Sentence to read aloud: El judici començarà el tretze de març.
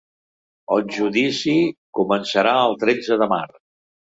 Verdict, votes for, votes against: rejected, 0, 2